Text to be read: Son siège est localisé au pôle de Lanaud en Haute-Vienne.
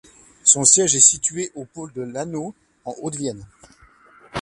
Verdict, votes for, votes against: rejected, 1, 2